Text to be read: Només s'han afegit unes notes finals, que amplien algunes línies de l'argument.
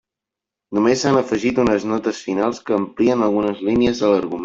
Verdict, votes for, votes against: rejected, 0, 2